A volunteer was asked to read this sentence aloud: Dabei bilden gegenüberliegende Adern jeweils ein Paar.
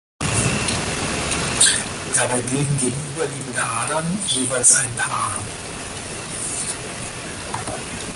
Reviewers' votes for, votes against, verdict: 4, 0, accepted